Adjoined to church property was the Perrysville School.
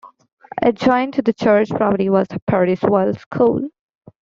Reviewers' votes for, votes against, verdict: 0, 2, rejected